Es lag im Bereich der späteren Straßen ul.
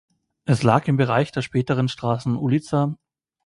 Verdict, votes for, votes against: rejected, 1, 2